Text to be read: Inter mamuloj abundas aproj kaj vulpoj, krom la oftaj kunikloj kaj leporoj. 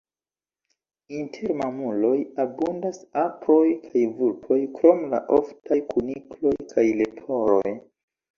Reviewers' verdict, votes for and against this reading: accepted, 2, 1